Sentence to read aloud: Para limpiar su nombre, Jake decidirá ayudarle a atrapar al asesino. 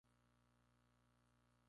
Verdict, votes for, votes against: rejected, 0, 2